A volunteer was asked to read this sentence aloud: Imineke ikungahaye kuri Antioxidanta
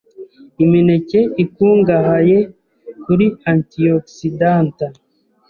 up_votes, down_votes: 3, 1